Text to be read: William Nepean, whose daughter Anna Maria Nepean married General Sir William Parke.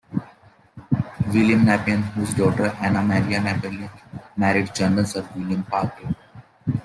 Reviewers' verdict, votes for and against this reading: accepted, 2, 1